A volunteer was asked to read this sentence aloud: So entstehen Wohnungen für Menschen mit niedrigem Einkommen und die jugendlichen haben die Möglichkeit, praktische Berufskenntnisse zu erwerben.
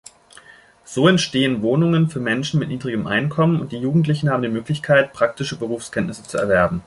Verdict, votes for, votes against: accepted, 3, 0